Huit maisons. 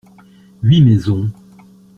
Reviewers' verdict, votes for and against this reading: accepted, 2, 0